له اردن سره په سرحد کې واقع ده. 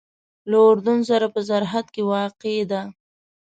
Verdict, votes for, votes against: accepted, 2, 0